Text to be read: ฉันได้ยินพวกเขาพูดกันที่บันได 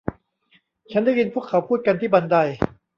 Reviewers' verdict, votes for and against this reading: rejected, 1, 2